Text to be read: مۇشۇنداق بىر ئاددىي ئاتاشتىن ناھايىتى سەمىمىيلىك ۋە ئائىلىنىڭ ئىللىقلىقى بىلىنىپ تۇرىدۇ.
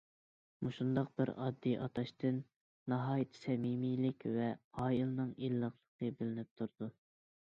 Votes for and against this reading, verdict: 2, 0, accepted